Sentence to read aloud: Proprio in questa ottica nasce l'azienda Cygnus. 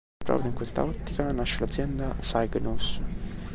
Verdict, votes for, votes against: accepted, 2, 0